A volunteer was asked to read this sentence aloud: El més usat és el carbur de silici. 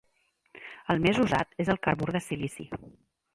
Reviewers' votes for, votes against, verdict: 2, 0, accepted